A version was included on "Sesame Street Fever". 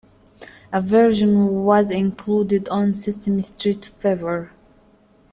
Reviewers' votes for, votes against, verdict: 0, 2, rejected